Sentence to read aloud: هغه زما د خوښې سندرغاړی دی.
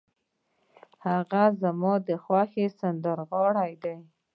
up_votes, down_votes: 2, 0